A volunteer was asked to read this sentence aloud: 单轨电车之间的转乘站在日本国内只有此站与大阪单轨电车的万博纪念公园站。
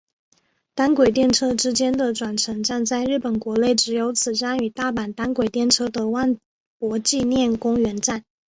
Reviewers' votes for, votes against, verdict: 2, 0, accepted